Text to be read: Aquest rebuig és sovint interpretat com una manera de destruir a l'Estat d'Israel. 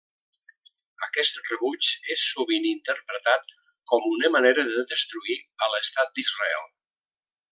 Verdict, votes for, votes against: accepted, 3, 0